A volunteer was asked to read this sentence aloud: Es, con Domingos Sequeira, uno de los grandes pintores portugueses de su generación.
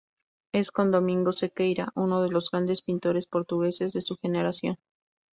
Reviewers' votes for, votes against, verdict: 2, 0, accepted